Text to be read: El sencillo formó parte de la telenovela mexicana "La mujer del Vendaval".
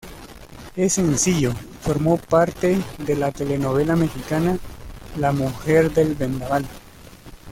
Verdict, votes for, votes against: rejected, 0, 2